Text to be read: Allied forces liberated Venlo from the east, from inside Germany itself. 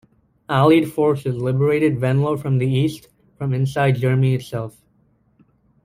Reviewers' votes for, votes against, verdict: 0, 2, rejected